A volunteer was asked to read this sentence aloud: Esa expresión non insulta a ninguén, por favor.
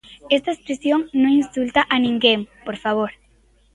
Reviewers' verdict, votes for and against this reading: rejected, 0, 3